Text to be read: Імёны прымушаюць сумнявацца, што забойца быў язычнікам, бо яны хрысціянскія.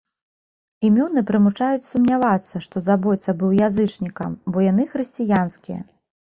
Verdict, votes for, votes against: rejected, 0, 2